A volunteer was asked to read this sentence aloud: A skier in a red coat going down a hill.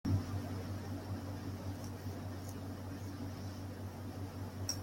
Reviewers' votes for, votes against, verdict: 0, 2, rejected